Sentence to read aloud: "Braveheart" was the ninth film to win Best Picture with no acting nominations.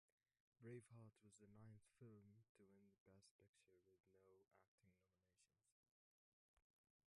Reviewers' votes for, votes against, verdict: 1, 2, rejected